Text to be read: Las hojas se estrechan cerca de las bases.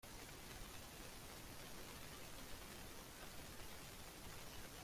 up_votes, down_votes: 0, 3